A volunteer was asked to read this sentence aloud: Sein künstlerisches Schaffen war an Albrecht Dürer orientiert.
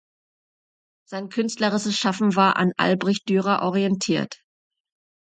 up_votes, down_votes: 0, 2